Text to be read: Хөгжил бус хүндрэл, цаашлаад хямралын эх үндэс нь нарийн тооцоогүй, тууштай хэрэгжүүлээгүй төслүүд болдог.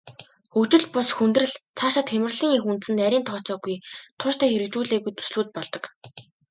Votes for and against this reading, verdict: 2, 0, accepted